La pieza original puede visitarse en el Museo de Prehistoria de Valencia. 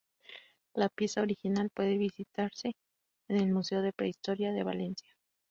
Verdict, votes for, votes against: rejected, 2, 2